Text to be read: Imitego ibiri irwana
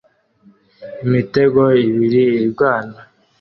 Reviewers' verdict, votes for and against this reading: accepted, 2, 0